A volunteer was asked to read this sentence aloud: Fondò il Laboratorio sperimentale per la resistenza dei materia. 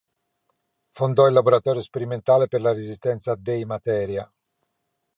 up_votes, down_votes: 6, 0